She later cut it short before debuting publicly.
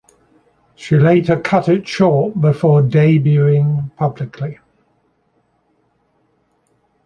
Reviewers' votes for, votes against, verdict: 2, 0, accepted